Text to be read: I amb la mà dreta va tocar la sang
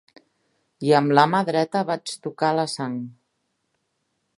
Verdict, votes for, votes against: rejected, 0, 2